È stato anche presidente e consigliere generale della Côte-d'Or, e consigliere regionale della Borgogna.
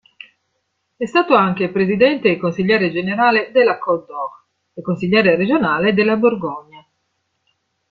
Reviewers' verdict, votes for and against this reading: accepted, 2, 0